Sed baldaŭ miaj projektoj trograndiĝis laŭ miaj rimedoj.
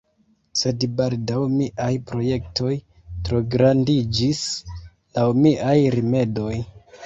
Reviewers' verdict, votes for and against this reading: rejected, 0, 2